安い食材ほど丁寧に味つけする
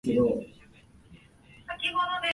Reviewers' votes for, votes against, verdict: 0, 3, rejected